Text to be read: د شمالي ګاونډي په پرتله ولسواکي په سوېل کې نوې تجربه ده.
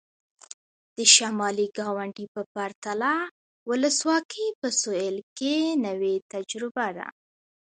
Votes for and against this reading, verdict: 0, 2, rejected